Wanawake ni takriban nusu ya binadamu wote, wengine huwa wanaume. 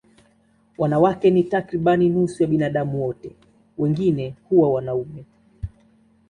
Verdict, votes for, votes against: accepted, 2, 0